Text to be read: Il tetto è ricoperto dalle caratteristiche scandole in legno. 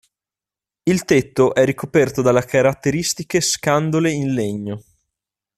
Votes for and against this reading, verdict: 0, 2, rejected